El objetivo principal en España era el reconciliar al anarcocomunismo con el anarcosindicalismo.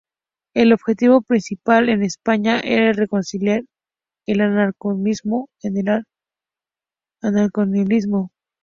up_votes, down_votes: 0, 2